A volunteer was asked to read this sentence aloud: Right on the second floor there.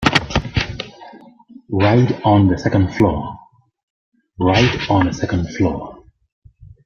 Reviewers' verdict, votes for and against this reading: rejected, 0, 2